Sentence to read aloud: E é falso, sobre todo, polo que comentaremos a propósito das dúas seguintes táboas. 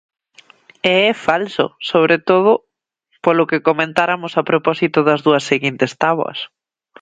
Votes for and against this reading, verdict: 0, 2, rejected